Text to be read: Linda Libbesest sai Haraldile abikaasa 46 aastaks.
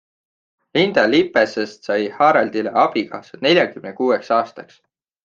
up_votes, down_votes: 0, 2